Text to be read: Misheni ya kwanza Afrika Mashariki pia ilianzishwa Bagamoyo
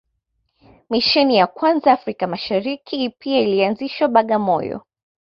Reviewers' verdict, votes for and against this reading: accepted, 2, 0